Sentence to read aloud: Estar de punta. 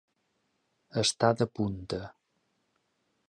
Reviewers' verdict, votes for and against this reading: rejected, 0, 2